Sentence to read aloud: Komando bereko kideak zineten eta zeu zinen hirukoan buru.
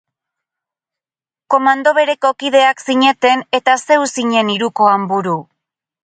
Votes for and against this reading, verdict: 6, 0, accepted